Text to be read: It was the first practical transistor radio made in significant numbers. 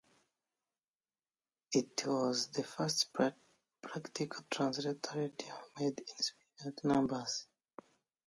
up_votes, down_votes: 0, 2